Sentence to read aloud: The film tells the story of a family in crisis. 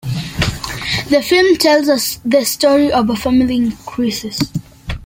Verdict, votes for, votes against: rejected, 0, 2